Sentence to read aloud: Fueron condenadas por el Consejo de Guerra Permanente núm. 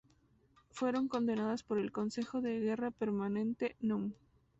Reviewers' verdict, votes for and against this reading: accepted, 2, 0